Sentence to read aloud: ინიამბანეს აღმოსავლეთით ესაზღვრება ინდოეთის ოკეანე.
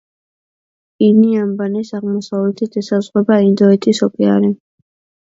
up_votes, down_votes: 2, 1